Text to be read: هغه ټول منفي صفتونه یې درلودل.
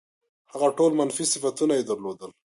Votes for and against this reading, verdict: 2, 0, accepted